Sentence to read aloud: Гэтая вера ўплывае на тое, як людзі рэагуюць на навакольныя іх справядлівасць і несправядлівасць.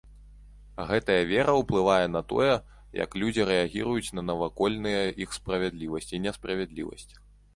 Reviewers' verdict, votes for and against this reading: rejected, 0, 2